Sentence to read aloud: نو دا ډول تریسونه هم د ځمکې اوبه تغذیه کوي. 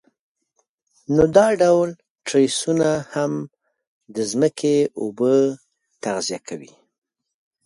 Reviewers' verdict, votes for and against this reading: accepted, 2, 0